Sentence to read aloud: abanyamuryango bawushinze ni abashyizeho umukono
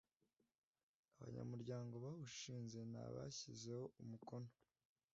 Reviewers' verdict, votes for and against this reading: accepted, 2, 0